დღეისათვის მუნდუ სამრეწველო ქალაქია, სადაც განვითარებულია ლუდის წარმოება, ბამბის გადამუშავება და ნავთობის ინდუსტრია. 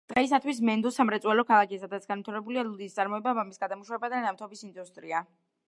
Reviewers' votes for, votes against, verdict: 0, 2, rejected